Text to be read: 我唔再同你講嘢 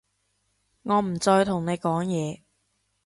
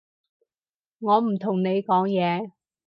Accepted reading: first